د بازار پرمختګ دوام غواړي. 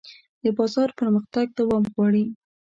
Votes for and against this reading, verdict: 2, 0, accepted